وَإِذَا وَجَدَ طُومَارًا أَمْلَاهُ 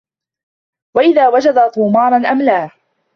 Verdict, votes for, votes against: accepted, 2, 1